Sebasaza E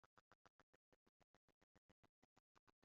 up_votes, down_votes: 0, 3